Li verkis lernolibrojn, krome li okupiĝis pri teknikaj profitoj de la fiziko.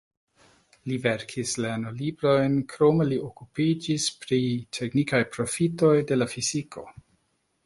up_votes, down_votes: 0, 2